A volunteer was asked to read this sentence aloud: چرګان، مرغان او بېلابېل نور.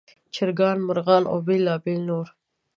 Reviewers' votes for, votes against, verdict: 3, 0, accepted